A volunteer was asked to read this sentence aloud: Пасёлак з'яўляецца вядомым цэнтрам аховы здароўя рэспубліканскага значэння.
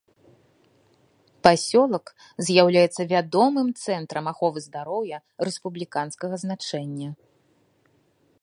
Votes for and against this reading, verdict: 2, 0, accepted